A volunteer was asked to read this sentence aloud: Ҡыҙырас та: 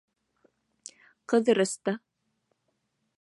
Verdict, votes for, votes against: rejected, 1, 2